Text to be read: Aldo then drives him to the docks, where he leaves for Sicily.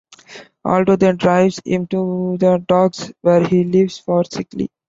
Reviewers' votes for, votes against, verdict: 1, 2, rejected